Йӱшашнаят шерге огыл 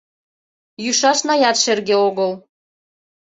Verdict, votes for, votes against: accepted, 2, 1